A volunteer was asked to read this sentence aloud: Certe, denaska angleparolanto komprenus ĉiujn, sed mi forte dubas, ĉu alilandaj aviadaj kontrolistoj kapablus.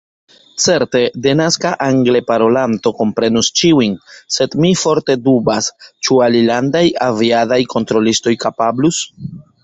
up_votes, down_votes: 0, 2